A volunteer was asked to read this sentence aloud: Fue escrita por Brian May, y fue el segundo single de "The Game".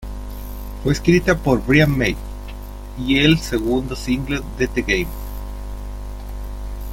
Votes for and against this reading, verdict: 0, 2, rejected